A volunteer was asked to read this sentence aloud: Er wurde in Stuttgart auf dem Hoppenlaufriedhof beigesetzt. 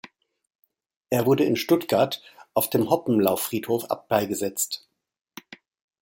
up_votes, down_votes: 1, 2